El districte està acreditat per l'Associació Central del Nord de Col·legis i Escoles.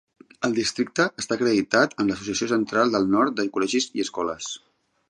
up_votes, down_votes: 1, 2